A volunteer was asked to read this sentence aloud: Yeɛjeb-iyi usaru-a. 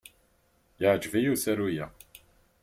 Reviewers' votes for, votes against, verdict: 4, 0, accepted